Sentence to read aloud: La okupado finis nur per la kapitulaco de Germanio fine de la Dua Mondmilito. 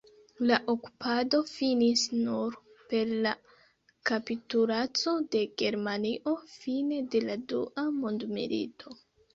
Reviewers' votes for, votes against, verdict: 1, 2, rejected